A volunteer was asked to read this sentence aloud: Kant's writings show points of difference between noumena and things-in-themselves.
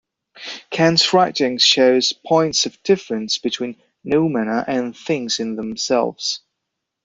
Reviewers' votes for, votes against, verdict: 1, 2, rejected